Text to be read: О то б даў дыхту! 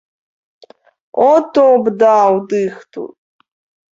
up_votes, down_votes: 2, 0